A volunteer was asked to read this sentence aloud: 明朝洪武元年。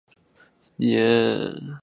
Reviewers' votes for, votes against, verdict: 1, 2, rejected